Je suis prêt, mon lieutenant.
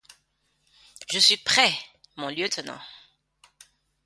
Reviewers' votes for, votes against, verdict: 2, 0, accepted